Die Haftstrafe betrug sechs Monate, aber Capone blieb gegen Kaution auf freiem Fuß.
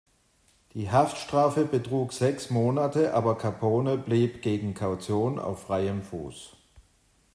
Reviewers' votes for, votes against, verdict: 2, 0, accepted